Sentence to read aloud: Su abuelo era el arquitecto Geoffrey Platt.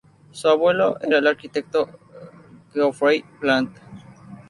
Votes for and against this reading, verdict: 0, 2, rejected